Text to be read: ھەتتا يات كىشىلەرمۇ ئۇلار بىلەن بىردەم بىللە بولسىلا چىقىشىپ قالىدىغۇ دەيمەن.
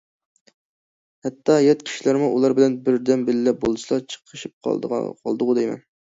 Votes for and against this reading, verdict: 0, 2, rejected